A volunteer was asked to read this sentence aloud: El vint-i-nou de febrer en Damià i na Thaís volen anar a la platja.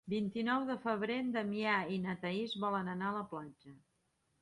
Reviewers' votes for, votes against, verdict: 1, 2, rejected